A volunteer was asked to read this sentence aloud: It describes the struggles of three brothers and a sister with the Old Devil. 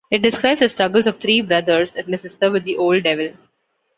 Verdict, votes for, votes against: accepted, 2, 1